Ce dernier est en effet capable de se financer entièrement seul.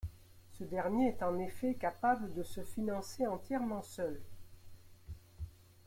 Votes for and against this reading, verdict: 1, 2, rejected